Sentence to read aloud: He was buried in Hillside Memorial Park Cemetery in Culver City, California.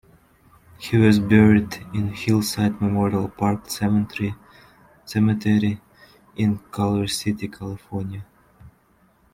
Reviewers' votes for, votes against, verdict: 2, 1, accepted